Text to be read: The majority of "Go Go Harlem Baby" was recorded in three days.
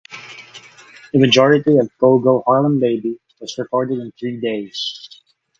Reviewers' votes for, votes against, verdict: 6, 0, accepted